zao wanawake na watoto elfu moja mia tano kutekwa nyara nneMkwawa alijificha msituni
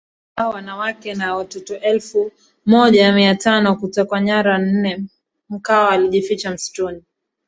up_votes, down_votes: 1, 2